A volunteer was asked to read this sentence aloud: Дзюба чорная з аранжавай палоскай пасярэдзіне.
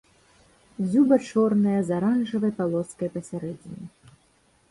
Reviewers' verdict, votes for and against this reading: accepted, 2, 0